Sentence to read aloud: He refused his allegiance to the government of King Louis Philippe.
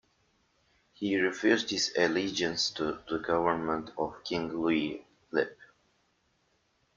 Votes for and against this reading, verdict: 1, 2, rejected